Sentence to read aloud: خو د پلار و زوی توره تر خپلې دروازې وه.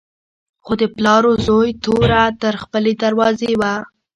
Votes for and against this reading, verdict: 2, 0, accepted